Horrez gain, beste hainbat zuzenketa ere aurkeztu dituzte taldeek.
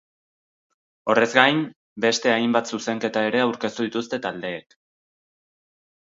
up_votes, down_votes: 2, 0